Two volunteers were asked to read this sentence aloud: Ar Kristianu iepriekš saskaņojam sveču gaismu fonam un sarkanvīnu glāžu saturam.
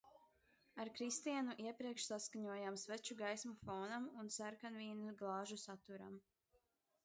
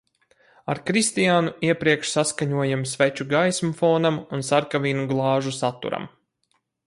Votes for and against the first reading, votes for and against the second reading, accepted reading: 0, 2, 4, 0, second